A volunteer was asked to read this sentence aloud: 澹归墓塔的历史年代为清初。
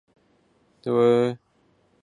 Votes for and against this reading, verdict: 0, 3, rejected